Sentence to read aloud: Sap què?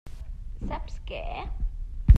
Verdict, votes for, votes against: rejected, 1, 2